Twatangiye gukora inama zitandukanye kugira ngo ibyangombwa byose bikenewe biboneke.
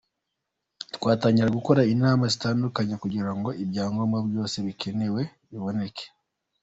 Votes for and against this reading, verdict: 2, 0, accepted